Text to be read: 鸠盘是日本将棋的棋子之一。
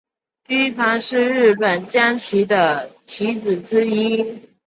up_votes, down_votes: 1, 2